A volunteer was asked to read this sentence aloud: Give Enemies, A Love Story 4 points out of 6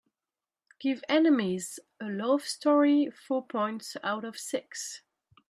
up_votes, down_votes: 0, 2